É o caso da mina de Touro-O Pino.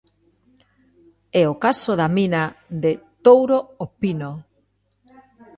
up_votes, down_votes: 2, 0